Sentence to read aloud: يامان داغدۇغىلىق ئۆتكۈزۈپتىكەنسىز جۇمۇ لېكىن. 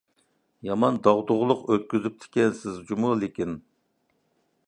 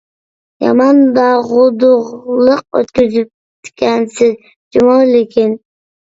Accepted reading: first